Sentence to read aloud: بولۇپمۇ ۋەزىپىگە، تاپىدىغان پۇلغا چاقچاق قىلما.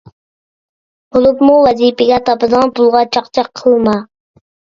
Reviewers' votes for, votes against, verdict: 2, 0, accepted